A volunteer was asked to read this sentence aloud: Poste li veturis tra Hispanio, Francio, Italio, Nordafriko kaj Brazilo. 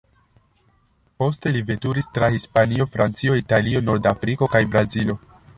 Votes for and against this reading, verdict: 2, 0, accepted